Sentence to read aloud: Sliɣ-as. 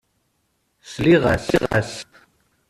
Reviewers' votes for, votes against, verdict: 0, 2, rejected